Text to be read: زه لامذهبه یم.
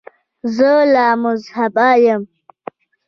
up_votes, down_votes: 0, 2